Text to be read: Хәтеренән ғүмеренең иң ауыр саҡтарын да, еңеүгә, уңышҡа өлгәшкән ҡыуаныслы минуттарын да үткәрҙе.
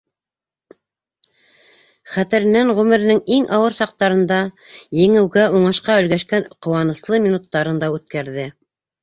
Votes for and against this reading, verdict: 2, 0, accepted